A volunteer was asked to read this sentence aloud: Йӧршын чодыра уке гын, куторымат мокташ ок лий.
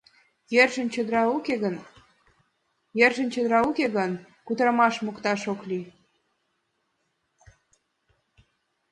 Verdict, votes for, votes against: rejected, 0, 2